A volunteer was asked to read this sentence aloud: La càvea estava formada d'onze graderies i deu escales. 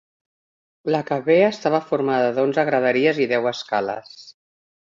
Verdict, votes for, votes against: accepted, 2, 1